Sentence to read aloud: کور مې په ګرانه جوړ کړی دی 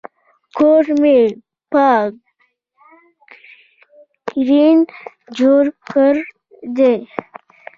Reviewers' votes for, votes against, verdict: 0, 2, rejected